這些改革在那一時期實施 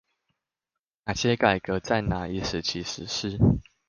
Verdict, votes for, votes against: rejected, 0, 2